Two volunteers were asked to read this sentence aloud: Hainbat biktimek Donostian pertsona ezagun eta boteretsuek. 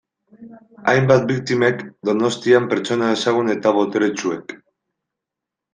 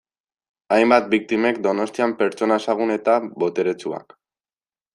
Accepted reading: first